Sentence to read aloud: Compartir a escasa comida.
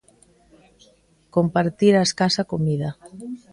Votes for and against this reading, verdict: 2, 0, accepted